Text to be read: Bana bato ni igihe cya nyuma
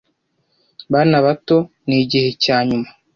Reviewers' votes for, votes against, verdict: 2, 0, accepted